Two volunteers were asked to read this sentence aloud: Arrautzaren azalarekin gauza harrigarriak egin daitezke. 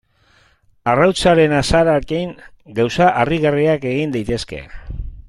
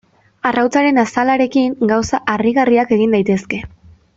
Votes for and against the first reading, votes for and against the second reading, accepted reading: 0, 2, 2, 0, second